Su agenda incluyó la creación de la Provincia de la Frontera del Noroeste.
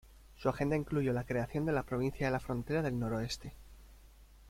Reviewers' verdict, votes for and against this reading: accepted, 2, 0